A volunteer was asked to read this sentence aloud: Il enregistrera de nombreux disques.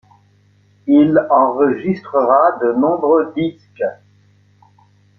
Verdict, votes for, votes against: rejected, 1, 2